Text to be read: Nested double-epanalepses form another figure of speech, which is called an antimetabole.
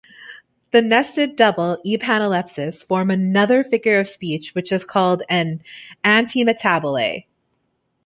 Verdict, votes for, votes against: accepted, 2, 1